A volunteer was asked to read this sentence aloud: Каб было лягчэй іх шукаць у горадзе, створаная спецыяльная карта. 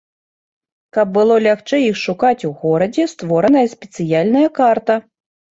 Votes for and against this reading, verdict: 2, 0, accepted